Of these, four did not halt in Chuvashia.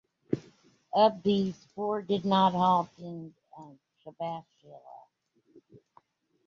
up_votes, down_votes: 1, 2